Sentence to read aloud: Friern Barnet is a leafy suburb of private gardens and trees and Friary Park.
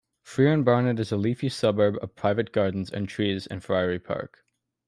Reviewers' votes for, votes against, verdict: 2, 0, accepted